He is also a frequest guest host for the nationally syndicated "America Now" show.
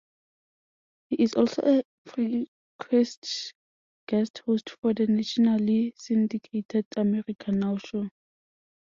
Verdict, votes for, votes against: rejected, 0, 2